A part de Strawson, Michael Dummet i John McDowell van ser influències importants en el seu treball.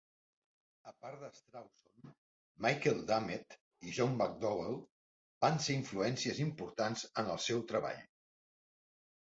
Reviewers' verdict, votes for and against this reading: rejected, 3, 4